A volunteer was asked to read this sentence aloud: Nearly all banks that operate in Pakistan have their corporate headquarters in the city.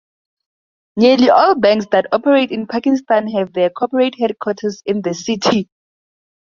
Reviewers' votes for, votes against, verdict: 2, 0, accepted